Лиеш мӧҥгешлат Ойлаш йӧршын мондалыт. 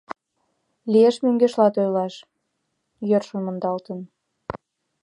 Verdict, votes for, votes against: rejected, 1, 2